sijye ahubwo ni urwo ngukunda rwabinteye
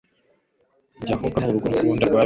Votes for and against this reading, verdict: 1, 2, rejected